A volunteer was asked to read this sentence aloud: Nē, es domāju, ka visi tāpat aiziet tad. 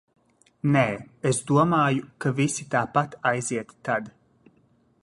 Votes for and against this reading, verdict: 0, 2, rejected